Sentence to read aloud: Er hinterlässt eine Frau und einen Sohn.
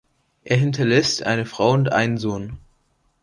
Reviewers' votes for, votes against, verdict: 2, 0, accepted